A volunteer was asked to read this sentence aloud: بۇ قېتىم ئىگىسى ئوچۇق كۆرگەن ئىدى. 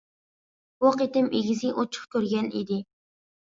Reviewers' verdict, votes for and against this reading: accepted, 2, 0